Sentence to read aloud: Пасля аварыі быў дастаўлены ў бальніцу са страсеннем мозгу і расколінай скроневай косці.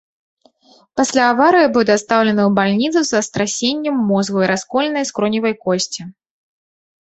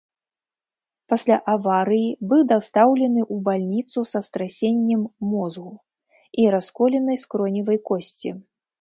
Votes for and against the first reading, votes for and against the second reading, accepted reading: 2, 1, 0, 2, first